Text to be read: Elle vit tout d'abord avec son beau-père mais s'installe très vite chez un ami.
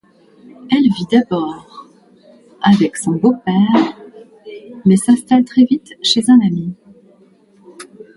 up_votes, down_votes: 0, 2